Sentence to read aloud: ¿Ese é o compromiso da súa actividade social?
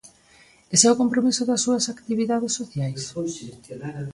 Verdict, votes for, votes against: rejected, 0, 2